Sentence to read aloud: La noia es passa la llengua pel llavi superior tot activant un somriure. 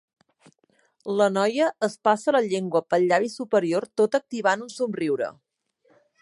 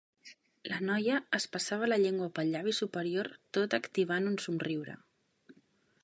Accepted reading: first